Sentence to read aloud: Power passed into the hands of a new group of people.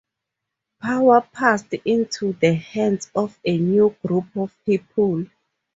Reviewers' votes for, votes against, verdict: 4, 0, accepted